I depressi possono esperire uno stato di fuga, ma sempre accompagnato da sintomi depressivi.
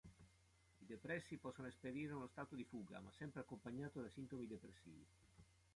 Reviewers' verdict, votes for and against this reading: rejected, 1, 3